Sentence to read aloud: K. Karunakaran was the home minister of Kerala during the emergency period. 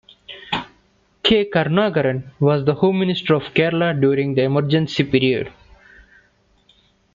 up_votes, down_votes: 2, 1